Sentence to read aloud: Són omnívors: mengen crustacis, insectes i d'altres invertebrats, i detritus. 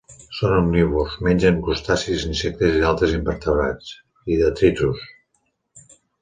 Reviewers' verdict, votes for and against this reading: accepted, 2, 0